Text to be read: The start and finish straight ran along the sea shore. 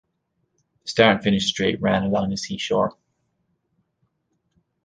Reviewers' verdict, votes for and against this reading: rejected, 1, 2